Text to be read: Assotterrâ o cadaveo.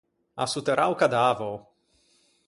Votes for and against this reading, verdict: 4, 0, accepted